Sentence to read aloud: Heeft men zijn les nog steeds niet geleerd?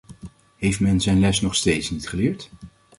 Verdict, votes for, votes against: accepted, 2, 0